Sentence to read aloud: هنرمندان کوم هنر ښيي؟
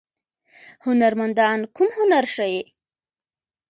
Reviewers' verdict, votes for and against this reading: accepted, 2, 0